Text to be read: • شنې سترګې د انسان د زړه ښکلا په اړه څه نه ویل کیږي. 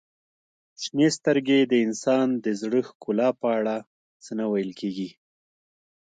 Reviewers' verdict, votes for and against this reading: accepted, 2, 1